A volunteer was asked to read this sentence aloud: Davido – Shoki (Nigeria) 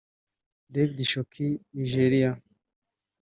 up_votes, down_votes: 1, 2